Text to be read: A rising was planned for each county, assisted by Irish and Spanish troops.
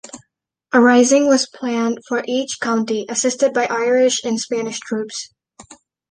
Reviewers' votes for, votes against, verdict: 2, 0, accepted